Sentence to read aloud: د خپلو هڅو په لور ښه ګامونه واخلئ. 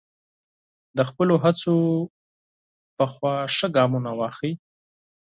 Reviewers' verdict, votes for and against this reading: rejected, 2, 8